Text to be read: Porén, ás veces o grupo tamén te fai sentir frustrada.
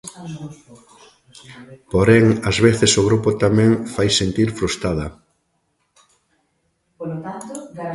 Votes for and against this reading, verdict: 0, 2, rejected